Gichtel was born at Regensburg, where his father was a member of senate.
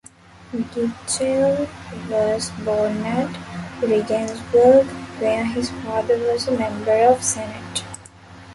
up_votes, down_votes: 1, 2